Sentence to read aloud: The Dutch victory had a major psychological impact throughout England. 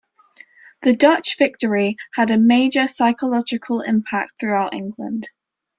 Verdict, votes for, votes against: accepted, 2, 0